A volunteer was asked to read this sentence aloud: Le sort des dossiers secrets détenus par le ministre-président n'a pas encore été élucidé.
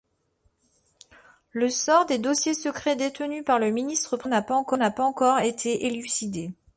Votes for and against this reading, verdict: 0, 2, rejected